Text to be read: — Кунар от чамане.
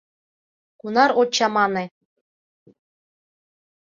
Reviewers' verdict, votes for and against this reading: accepted, 2, 0